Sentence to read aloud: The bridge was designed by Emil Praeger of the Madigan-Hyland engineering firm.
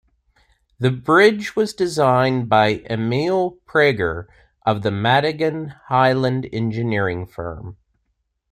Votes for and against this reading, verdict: 2, 0, accepted